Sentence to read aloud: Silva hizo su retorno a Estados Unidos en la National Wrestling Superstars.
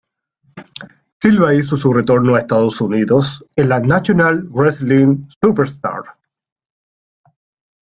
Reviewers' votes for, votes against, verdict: 2, 0, accepted